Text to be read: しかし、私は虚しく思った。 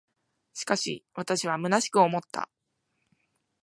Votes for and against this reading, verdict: 2, 0, accepted